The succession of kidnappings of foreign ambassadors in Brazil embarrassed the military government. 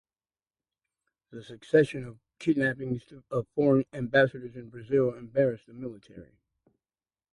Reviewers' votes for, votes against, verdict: 2, 0, accepted